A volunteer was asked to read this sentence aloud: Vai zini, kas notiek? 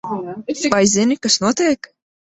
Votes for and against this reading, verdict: 0, 2, rejected